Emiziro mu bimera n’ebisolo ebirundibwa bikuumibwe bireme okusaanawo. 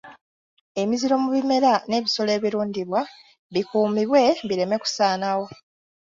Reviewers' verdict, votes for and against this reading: rejected, 1, 2